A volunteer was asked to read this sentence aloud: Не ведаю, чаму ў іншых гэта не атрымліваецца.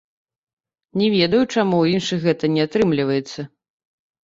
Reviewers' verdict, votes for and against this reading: accepted, 3, 1